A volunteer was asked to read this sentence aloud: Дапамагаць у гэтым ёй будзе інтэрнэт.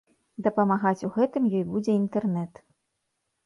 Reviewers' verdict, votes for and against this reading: accepted, 3, 0